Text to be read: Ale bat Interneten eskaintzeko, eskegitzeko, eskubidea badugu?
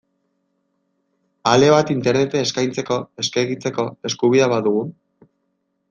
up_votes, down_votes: 0, 2